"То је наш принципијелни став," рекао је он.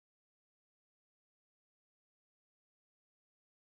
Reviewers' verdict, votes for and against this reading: rejected, 0, 2